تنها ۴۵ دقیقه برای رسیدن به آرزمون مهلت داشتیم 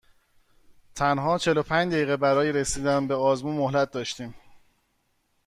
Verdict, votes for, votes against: rejected, 0, 2